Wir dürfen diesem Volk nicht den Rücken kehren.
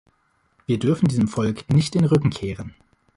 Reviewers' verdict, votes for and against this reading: rejected, 2, 3